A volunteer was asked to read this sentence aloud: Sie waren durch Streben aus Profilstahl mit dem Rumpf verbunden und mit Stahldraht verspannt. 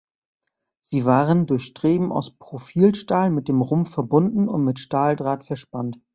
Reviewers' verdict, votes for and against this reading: accepted, 2, 1